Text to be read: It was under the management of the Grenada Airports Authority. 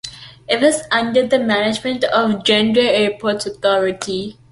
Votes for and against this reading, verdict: 2, 0, accepted